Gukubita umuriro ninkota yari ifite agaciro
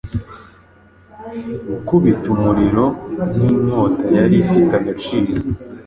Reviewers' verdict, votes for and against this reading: accepted, 2, 0